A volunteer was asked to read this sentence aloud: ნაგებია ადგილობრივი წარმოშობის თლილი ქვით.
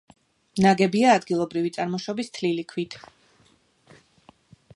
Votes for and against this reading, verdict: 2, 0, accepted